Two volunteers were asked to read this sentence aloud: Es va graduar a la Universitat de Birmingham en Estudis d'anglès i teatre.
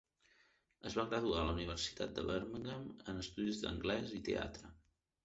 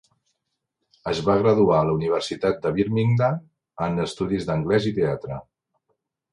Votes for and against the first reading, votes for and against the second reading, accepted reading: 0, 2, 3, 0, second